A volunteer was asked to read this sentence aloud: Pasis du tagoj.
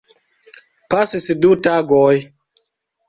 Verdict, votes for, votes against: accepted, 2, 0